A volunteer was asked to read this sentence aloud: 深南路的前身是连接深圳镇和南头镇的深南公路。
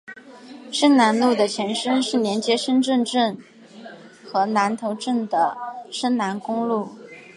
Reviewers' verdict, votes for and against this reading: accepted, 2, 0